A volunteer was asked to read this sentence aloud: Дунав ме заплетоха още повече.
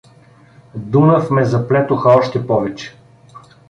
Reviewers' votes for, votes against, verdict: 2, 0, accepted